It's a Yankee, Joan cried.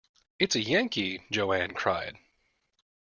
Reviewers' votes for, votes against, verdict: 1, 2, rejected